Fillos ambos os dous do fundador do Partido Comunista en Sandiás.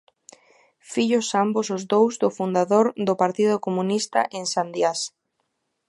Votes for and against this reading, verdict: 2, 0, accepted